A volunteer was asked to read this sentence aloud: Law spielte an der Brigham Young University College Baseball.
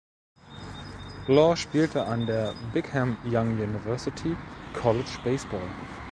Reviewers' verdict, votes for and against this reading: rejected, 1, 2